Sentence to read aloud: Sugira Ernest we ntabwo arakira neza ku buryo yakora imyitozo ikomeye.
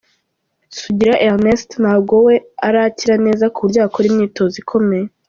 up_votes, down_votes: 0, 2